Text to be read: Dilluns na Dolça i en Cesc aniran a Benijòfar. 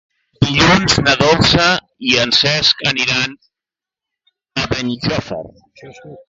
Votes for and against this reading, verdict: 0, 2, rejected